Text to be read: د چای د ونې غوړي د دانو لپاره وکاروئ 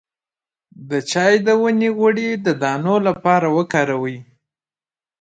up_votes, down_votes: 0, 2